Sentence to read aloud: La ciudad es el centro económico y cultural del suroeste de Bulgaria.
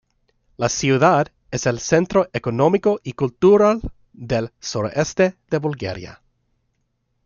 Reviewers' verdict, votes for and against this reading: rejected, 1, 2